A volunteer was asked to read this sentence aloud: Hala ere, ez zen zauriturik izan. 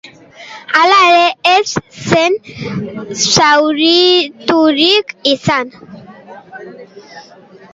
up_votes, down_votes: 0, 2